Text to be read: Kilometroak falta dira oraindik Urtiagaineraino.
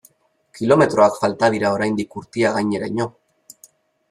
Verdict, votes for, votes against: accepted, 3, 0